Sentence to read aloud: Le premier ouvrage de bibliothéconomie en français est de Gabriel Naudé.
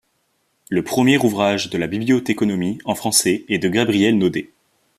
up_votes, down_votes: 0, 2